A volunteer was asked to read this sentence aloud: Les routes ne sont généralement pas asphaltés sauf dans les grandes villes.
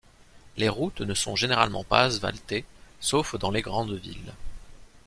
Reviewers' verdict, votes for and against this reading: rejected, 0, 2